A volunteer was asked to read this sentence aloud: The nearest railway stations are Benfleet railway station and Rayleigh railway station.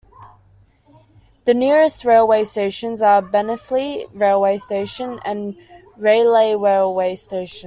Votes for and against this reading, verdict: 2, 0, accepted